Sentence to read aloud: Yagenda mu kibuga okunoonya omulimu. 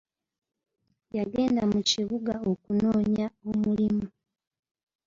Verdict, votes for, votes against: accepted, 2, 0